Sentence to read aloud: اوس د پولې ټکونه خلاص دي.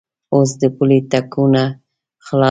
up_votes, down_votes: 0, 2